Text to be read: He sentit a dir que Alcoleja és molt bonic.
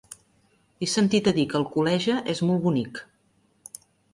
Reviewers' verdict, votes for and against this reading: accepted, 3, 0